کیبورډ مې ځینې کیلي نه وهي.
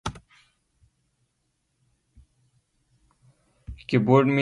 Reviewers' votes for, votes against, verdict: 0, 2, rejected